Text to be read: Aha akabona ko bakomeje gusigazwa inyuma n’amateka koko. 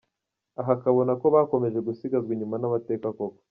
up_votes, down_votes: 1, 2